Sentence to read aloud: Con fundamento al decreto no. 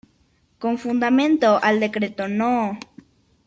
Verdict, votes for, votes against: accepted, 2, 0